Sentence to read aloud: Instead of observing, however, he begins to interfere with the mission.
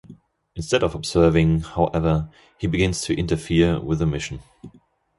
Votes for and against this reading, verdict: 2, 0, accepted